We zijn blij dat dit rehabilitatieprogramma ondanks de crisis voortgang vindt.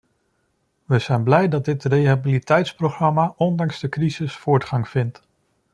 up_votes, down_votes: 0, 2